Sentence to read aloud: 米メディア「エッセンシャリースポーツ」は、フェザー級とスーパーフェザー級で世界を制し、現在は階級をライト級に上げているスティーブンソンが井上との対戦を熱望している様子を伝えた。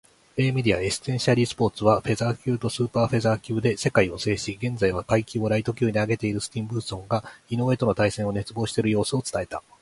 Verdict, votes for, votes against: accepted, 2, 1